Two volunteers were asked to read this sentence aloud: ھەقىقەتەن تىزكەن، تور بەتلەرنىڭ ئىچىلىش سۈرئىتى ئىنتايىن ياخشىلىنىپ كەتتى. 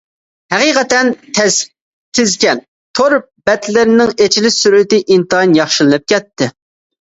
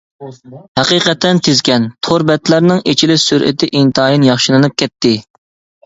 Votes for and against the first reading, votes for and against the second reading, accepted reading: 0, 2, 2, 0, second